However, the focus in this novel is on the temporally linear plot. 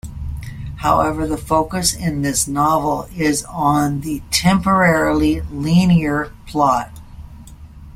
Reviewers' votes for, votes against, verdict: 0, 2, rejected